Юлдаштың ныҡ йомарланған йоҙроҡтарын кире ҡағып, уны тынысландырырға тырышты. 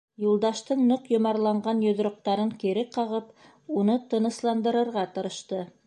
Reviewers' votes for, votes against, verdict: 3, 0, accepted